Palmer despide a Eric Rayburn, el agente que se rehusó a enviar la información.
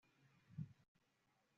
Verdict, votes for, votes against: rejected, 1, 2